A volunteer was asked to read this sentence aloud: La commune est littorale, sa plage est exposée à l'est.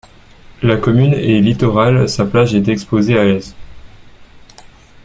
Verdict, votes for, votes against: accepted, 2, 0